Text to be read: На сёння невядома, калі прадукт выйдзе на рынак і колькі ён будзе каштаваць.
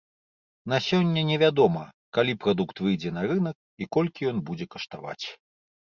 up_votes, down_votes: 2, 0